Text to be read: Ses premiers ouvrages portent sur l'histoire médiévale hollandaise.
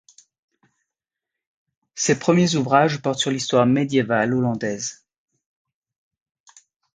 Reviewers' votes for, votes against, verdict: 2, 0, accepted